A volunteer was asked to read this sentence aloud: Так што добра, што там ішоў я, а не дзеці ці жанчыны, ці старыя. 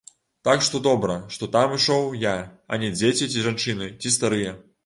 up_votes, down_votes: 2, 0